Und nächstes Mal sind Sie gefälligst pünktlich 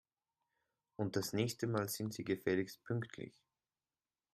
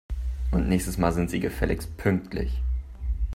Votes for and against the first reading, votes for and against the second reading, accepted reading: 0, 2, 3, 0, second